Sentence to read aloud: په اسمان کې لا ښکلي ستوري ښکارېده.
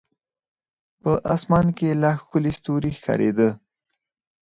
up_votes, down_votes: 0, 4